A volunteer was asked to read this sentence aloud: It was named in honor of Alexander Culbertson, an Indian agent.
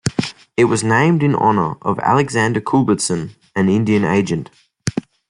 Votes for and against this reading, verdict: 2, 0, accepted